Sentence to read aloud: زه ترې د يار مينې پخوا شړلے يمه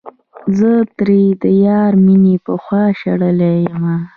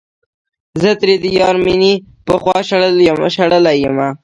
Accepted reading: second